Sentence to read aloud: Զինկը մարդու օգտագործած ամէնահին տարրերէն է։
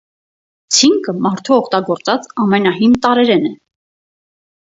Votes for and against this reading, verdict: 2, 2, rejected